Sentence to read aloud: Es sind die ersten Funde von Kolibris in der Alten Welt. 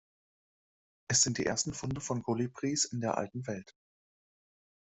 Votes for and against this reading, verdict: 2, 0, accepted